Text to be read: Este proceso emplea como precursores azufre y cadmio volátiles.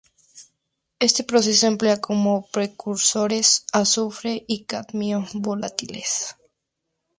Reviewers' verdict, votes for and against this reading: accepted, 2, 0